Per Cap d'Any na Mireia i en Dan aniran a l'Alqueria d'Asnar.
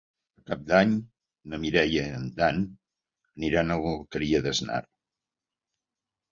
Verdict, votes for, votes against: rejected, 0, 2